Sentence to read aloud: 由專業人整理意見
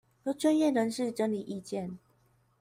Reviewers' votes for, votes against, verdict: 1, 2, rejected